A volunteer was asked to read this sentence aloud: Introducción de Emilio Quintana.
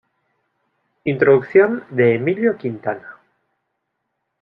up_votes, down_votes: 2, 0